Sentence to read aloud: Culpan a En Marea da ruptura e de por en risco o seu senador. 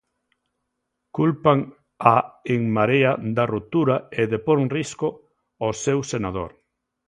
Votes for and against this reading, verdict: 2, 0, accepted